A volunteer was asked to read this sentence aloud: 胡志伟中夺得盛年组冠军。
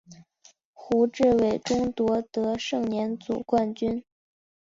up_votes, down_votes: 3, 0